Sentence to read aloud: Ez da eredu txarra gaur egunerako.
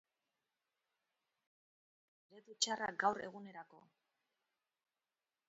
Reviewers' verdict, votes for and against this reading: rejected, 2, 2